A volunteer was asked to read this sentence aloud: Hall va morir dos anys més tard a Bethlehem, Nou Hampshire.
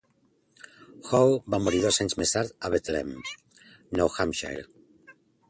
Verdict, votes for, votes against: accepted, 2, 0